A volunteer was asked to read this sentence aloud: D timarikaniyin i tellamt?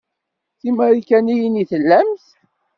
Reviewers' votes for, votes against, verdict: 2, 1, accepted